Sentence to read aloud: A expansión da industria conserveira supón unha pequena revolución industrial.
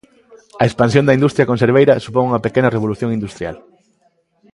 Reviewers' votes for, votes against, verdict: 2, 0, accepted